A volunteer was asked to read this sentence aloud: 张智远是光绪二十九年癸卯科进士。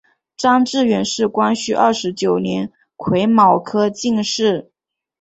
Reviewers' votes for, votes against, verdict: 4, 1, accepted